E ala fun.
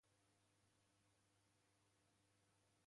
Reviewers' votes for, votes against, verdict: 0, 2, rejected